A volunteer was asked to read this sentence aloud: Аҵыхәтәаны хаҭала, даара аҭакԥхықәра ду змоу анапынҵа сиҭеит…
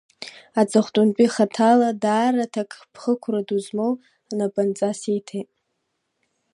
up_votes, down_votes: 1, 2